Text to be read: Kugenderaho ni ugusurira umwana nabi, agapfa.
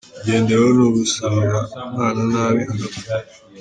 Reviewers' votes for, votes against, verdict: 1, 3, rejected